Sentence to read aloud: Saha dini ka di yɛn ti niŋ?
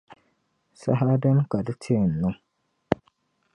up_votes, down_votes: 0, 2